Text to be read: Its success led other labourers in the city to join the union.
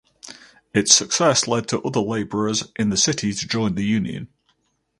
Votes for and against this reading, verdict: 2, 2, rejected